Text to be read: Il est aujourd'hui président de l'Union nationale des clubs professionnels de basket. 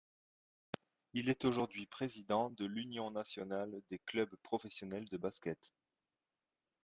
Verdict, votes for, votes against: accepted, 2, 0